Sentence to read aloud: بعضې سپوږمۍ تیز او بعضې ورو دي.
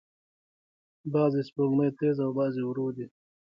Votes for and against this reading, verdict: 2, 0, accepted